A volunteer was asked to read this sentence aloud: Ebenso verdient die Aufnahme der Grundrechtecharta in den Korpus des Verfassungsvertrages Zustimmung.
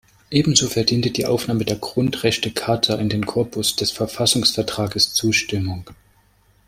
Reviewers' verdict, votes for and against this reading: rejected, 1, 2